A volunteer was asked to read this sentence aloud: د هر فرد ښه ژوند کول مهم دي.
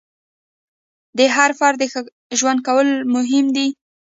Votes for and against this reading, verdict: 2, 0, accepted